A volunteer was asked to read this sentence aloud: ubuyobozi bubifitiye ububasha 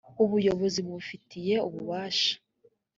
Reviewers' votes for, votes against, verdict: 2, 0, accepted